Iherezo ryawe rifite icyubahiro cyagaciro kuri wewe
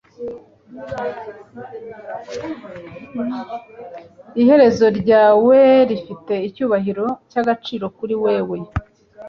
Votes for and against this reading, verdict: 1, 2, rejected